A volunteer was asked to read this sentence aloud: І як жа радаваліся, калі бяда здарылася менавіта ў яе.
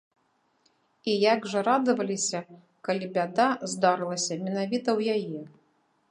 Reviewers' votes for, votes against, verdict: 2, 0, accepted